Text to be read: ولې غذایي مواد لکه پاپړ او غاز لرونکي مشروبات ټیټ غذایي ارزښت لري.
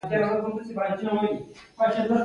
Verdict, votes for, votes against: rejected, 1, 2